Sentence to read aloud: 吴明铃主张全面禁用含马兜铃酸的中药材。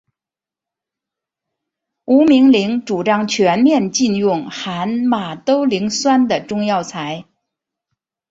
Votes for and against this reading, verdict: 2, 1, accepted